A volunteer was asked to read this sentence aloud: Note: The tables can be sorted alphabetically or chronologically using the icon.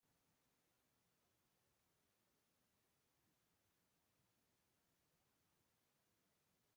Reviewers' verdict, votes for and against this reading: rejected, 0, 2